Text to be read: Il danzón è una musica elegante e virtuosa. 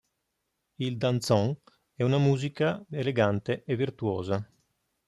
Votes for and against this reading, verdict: 3, 0, accepted